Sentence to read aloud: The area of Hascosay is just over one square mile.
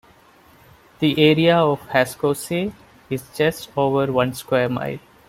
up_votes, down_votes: 1, 2